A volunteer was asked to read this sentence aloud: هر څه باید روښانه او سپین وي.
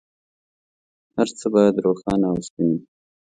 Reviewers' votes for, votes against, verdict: 2, 0, accepted